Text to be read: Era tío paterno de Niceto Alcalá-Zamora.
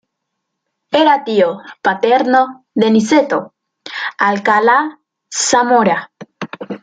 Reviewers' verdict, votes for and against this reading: accepted, 2, 0